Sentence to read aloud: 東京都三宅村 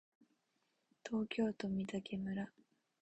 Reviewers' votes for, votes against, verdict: 0, 2, rejected